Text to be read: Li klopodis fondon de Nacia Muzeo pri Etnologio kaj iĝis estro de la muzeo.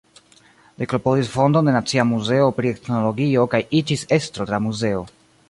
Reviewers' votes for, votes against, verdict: 0, 2, rejected